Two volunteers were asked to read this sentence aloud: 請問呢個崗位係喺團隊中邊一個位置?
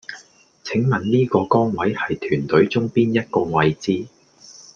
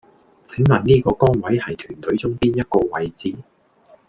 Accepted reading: second